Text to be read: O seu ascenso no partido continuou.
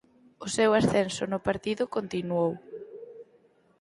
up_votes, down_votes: 0, 4